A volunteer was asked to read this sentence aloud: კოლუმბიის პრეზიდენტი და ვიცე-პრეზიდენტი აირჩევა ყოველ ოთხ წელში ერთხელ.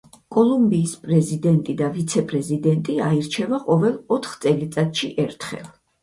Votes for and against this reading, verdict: 4, 0, accepted